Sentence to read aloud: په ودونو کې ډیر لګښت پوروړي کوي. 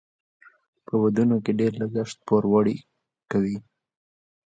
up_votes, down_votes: 2, 1